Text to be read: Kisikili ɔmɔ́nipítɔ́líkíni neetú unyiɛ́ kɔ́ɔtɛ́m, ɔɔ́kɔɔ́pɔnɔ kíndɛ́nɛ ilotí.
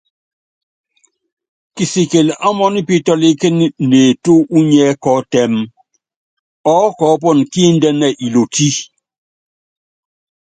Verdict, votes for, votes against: accepted, 2, 0